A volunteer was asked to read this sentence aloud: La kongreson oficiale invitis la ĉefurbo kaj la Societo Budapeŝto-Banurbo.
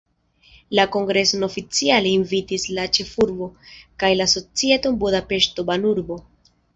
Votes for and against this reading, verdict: 2, 0, accepted